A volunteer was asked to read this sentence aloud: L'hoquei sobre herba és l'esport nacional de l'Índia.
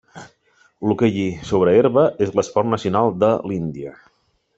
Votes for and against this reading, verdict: 2, 4, rejected